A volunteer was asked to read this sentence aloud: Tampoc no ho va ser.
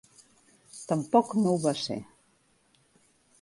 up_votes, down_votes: 3, 0